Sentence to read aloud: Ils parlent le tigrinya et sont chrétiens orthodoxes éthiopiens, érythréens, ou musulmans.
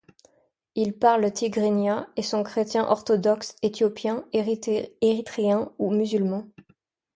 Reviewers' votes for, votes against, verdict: 0, 2, rejected